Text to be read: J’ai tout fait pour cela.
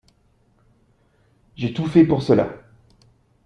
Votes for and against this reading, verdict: 2, 0, accepted